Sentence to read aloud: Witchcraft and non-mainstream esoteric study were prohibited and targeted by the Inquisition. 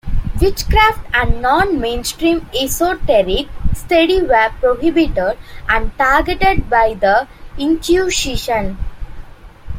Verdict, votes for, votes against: accepted, 3, 0